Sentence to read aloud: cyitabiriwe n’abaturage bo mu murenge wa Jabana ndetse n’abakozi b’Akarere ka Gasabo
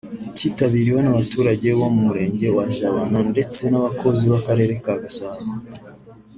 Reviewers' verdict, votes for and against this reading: rejected, 1, 2